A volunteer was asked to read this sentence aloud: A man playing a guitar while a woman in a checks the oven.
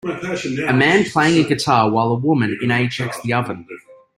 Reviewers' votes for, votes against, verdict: 1, 3, rejected